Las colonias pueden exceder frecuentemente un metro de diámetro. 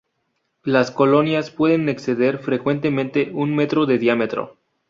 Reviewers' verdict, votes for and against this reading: accepted, 4, 0